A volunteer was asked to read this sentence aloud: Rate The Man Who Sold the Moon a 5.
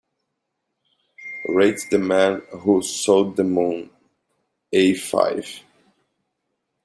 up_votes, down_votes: 0, 2